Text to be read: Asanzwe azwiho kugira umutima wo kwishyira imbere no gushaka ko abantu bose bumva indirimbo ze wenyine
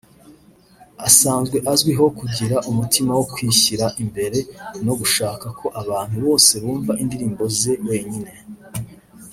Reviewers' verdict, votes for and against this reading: rejected, 1, 2